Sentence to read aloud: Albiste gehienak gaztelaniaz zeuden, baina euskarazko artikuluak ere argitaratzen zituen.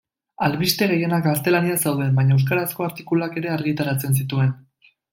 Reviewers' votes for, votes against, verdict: 2, 0, accepted